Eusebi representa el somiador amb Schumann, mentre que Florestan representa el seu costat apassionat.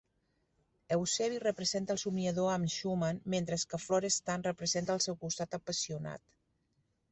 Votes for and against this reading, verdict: 2, 3, rejected